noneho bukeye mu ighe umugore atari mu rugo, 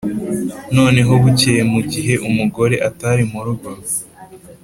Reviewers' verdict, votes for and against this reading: accepted, 5, 0